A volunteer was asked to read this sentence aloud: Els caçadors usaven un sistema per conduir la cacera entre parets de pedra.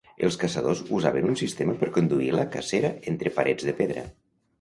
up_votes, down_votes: 2, 0